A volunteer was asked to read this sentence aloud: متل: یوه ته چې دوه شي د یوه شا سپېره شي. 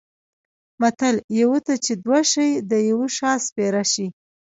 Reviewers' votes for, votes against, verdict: 2, 0, accepted